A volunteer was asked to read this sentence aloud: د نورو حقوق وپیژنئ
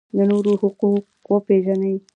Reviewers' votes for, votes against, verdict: 2, 0, accepted